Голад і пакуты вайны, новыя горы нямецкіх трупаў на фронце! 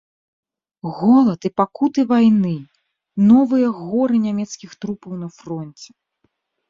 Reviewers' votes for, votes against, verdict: 2, 0, accepted